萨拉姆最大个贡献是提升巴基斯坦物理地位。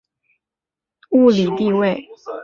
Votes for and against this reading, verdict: 1, 2, rejected